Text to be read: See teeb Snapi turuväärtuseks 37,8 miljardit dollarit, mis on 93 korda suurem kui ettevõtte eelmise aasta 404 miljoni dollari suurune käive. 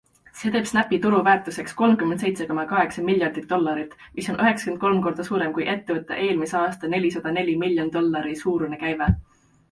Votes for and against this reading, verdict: 0, 2, rejected